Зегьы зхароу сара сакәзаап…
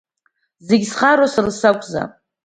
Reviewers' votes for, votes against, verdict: 2, 0, accepted